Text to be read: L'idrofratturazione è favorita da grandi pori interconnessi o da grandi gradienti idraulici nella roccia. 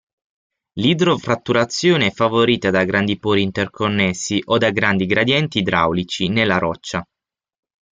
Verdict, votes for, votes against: accepted, 6, 0